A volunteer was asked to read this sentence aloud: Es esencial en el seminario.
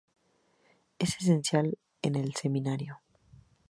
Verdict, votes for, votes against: accepted, 2, 0